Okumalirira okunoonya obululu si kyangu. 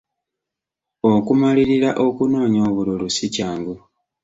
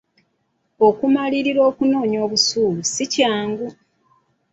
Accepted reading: first